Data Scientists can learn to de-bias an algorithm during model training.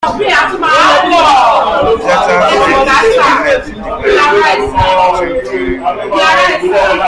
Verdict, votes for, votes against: rejected, 0, 2